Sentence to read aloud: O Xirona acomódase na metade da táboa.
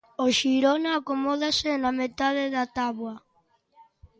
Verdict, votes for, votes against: accepted, 2, 0